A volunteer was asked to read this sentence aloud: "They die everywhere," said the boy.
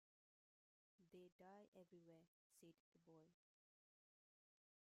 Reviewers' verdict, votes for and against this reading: rejected, 0, 2